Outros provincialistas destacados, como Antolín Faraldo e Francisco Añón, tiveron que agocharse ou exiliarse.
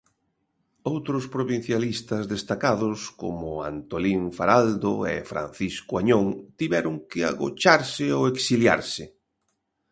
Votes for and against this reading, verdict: 2, 0, accepted